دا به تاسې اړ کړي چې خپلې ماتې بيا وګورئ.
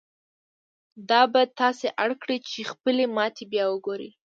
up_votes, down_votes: 2, 0